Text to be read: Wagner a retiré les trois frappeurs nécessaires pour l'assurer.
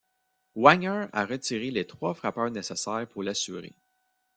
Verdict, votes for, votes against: rejected, 1, 2